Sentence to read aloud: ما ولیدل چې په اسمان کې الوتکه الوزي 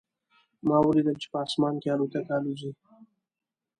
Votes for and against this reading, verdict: 2, 0, accepted